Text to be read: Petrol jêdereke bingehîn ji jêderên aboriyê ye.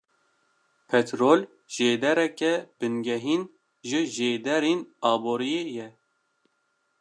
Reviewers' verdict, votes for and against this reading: accepted, 2, 1